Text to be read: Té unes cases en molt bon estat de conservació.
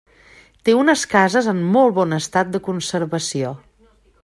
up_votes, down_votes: 3, 0